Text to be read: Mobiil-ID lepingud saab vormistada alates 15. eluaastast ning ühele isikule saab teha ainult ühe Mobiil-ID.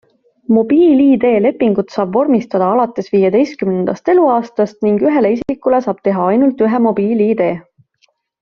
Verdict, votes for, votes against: rejected, 0, 2